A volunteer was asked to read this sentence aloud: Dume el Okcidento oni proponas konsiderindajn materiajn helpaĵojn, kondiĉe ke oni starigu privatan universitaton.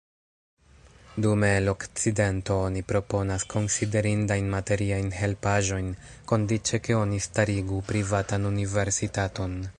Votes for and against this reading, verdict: 2, 0, accepted